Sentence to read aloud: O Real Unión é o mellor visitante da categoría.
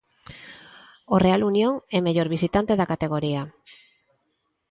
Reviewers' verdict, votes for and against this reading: accepted, 2, 1